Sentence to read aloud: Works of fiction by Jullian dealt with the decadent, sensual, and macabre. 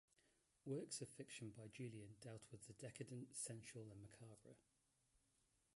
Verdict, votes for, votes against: rejected, 1, 2